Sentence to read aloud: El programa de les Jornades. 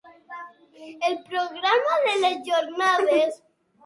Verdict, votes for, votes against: rejected, 3, 6